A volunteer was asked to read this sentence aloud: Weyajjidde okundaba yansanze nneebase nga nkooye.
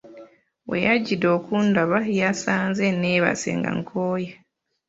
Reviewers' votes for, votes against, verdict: 0, 2, rejected